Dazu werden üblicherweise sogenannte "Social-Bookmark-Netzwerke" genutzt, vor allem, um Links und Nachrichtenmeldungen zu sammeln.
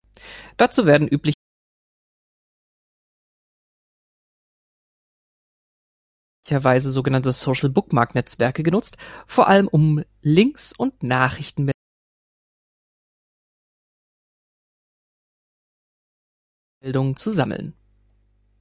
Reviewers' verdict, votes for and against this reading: rejected, 0, 2